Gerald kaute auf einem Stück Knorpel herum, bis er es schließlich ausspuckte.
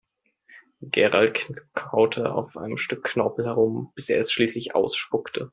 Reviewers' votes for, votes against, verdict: 0, 2, rejected